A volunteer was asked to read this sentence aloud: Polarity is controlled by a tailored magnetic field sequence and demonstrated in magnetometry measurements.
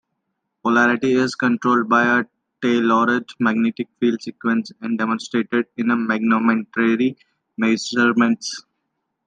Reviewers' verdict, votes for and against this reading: rejected, 0, 2